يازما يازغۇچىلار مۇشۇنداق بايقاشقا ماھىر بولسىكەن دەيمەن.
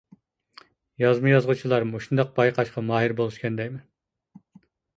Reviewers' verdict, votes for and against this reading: accepted, 2, 0